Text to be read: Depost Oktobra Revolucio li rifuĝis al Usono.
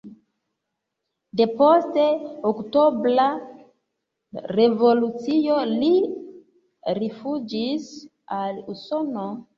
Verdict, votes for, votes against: rejected, 0, 3